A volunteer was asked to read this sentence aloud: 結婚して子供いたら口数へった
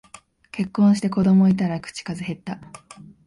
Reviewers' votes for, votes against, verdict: 2, 0, accepted